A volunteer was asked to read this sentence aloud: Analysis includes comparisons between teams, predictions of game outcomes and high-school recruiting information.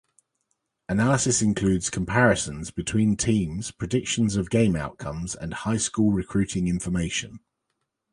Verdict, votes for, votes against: accepted, 2, 0